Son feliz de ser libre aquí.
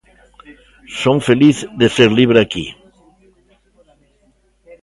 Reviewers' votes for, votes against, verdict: 2, 0, accepted